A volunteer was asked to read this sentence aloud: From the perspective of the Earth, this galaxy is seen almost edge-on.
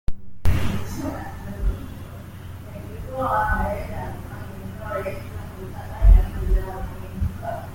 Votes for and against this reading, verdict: 0, 3, rejected